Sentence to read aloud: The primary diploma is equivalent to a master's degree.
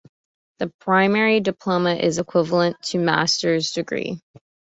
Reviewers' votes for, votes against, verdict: 0, 2, rejected